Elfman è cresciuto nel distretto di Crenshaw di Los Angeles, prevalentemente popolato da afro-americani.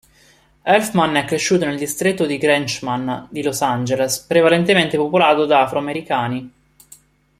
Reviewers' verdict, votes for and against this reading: rejected, 0, 2